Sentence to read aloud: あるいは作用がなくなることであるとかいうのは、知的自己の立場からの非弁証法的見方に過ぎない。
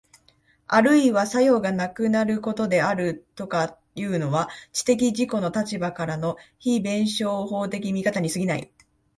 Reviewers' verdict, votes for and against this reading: accepted, 2, 0